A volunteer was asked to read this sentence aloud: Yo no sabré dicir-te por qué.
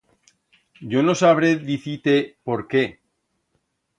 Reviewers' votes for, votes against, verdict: 2, 0, accepted